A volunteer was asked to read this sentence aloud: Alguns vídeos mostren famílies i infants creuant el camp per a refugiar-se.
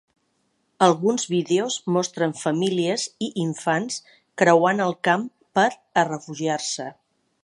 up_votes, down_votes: 4, 0